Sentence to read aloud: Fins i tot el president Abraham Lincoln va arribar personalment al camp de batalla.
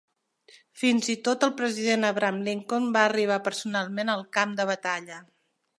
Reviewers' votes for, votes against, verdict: 3, 0, accepted